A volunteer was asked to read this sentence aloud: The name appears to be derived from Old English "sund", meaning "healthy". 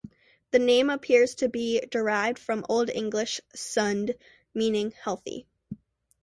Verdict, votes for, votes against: accepted, 2, 0